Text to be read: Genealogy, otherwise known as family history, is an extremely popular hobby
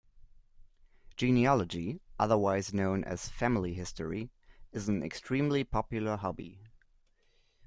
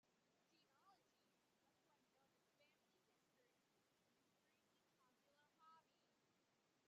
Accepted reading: first